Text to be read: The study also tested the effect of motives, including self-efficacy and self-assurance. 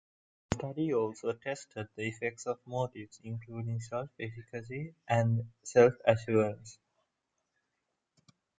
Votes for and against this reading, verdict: 2, 0, accepted